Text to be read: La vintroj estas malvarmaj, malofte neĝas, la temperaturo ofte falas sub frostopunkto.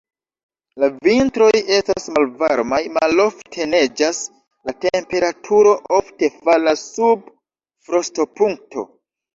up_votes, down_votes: 0, 2